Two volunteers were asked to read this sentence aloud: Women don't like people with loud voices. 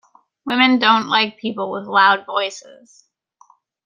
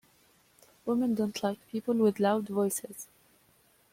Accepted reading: second